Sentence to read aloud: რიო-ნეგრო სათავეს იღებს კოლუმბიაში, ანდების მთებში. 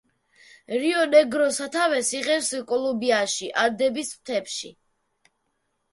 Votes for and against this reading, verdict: 0, 2, rejected